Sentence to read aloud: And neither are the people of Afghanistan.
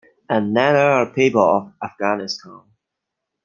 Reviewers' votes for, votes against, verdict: 2, 1, accepted